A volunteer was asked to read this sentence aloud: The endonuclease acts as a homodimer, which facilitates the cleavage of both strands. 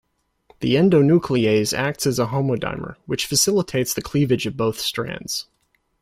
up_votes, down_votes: 2, 0